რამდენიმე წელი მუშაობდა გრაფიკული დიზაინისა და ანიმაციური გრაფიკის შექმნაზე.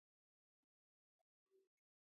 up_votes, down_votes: 2, 0